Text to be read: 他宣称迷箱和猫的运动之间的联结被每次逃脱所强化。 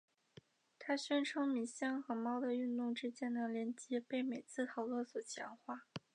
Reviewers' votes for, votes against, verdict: 1, 3, rejected